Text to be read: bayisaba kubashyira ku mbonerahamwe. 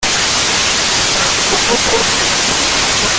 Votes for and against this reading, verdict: 0, 2, rejected